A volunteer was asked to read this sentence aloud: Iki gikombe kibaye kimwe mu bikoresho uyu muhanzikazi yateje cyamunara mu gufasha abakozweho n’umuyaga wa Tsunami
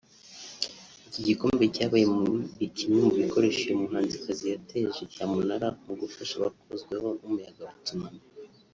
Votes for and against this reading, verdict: 1, 2, rejected